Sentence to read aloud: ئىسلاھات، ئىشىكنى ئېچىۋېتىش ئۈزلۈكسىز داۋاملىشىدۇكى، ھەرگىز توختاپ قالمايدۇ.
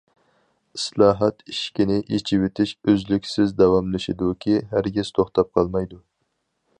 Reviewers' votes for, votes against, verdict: 4, 0, accepted